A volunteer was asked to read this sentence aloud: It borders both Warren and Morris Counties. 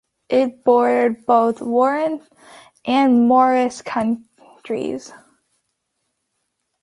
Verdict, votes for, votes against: rejected, 0, 2